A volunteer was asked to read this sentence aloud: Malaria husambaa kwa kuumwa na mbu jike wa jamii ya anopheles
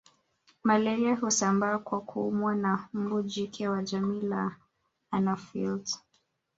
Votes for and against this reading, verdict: 0, 2, rejected